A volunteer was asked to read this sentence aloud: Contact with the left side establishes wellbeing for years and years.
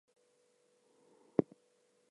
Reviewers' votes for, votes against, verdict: 0, 2, rejected